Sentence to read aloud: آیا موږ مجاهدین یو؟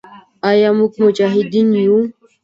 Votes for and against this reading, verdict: 2, 1, accepted